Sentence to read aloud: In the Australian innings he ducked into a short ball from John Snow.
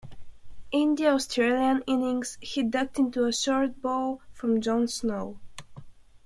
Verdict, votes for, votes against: accepted, 2, 0